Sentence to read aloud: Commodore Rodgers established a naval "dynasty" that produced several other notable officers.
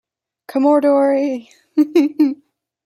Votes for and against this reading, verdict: 0, 2, rejected